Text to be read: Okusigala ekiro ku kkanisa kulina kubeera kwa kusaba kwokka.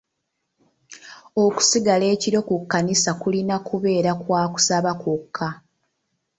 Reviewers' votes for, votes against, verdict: 2, 0, accepted